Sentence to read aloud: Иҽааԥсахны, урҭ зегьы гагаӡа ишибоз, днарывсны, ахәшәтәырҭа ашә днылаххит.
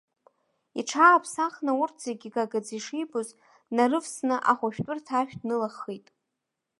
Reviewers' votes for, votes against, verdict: 1, 2, rejected